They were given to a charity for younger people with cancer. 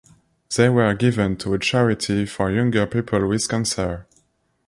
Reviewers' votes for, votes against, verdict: 2, 0, accepted